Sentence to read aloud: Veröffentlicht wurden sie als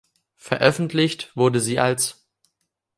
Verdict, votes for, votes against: rejected, 1, 2